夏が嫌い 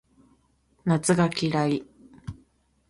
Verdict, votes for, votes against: accepted, 2, 0